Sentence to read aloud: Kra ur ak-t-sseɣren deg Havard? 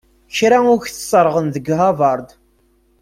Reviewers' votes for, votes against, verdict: 1, 2, rejected